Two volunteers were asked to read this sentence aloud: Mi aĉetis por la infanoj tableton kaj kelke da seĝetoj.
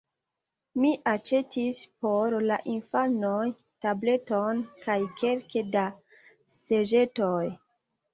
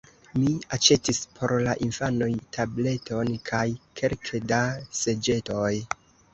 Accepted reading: first